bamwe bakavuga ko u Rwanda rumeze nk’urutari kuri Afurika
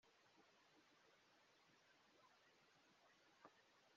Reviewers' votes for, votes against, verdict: 1, 3, rejected